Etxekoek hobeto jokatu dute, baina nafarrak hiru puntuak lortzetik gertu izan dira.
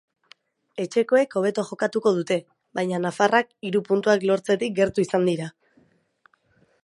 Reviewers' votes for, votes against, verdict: 2, 0, accepted